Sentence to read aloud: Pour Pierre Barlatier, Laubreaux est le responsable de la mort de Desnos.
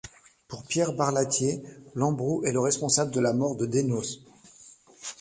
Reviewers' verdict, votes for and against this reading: rejected, 1, 2